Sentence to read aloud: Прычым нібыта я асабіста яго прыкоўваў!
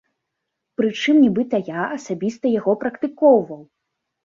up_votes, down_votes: 0, 2